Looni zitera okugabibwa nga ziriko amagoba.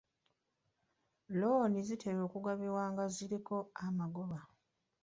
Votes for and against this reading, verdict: 2, 0, accepted